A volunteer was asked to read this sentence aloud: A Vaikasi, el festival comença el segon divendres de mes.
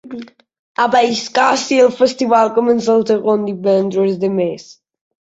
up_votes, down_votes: 1, 2